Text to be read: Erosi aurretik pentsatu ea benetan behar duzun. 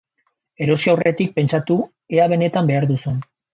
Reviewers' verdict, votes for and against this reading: accepted, 2, 0